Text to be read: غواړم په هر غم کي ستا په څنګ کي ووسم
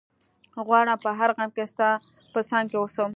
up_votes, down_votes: 2, 0